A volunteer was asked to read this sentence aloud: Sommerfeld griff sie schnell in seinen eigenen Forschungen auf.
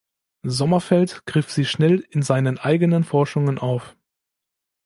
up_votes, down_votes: 2, 0